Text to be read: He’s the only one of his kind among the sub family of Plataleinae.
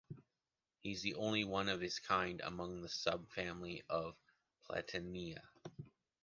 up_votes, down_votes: 0, 2